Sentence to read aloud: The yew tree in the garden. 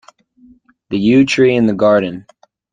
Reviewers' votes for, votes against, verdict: 2, 0, accepted